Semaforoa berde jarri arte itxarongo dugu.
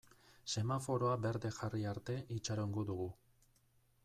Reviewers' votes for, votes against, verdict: 2, 0, accepted